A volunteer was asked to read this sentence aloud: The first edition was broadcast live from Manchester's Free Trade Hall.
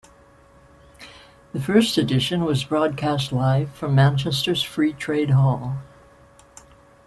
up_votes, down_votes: 2, 0